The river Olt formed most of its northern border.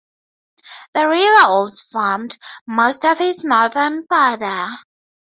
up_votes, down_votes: 2, 4